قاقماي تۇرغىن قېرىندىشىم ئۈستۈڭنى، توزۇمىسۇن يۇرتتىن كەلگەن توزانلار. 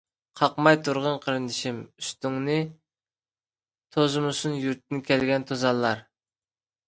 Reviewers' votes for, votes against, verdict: 2, 1, accepted